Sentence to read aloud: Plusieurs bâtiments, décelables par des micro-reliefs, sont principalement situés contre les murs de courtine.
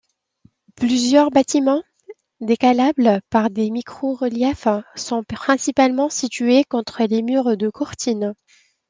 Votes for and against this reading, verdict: 0, 2, rejected